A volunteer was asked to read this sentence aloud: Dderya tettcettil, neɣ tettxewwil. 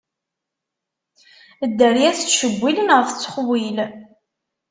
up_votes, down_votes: 1, 2